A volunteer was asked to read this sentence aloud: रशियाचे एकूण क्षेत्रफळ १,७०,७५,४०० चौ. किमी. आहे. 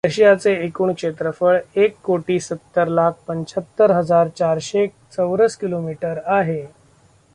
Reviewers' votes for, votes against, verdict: 0, 2, rejected